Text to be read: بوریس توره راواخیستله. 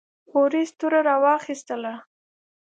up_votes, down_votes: 2, 0